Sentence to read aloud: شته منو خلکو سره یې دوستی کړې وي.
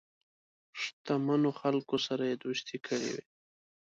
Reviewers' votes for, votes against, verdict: 1, 2, rejected